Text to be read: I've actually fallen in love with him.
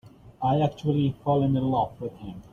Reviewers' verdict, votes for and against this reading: rejected, 1, 2